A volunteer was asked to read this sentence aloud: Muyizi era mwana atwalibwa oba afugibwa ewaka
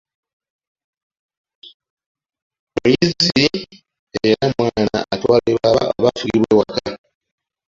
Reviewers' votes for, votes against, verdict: 1, 2, rejected